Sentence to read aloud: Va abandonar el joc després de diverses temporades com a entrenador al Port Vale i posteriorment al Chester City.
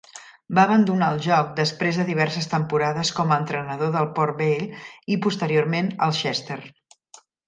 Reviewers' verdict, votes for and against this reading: rejected, 1, 2